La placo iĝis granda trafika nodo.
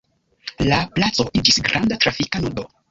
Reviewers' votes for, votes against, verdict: 1, 2, rejected